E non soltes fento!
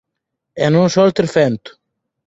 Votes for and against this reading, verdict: 4, 0, accepted